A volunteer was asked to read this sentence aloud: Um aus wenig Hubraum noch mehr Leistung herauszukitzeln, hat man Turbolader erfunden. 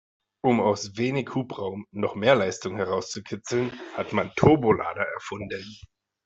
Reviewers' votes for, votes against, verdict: 2, 0, accepted